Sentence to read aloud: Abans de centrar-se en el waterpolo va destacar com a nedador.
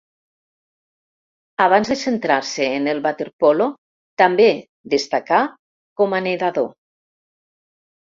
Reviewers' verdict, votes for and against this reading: rejected, 1, 2